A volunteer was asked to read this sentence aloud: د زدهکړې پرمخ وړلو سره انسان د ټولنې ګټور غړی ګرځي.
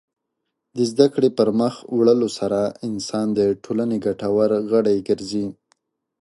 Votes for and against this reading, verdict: 3, 0, accepted